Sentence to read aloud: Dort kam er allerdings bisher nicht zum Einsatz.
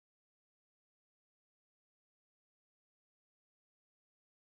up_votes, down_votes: 0, 4